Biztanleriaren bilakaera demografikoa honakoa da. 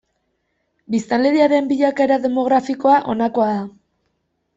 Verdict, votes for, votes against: accepted, 2, 1